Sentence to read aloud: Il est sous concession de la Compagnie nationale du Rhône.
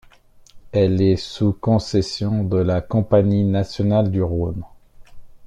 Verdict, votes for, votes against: rejected, 0, 2